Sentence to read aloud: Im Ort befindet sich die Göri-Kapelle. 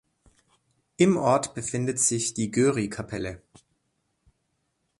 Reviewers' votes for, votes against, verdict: 2, 0, accepted